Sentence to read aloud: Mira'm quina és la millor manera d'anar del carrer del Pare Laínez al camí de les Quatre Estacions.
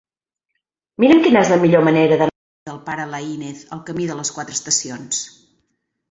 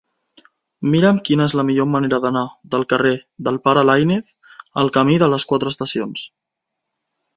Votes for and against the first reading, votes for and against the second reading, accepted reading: 0, 4, 2, 0, second